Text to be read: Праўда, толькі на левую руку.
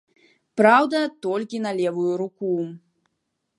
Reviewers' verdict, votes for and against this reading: accepted, 2, 0